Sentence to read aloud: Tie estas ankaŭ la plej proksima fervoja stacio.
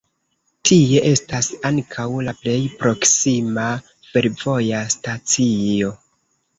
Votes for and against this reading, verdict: 0, 2, rejected